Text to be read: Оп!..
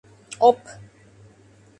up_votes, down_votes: 2, 0